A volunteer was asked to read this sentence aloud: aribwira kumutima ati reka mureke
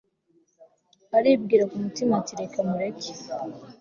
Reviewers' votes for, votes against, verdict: 2, 0, accepted